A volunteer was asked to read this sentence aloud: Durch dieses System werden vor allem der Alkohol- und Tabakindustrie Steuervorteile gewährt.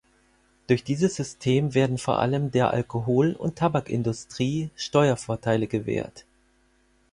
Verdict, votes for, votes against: accepted, 4, 0